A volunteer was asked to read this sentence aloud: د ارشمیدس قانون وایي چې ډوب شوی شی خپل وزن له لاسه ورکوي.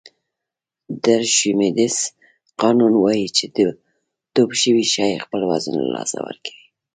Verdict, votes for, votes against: rejected, 1, 2